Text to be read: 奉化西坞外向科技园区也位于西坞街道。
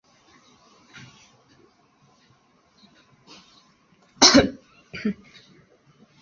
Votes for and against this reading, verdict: 2, 4, rejected